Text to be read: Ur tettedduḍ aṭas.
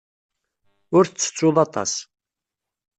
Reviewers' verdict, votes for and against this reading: rejected, 1, 2